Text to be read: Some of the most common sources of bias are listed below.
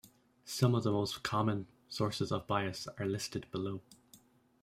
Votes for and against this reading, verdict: 2, 1, accepted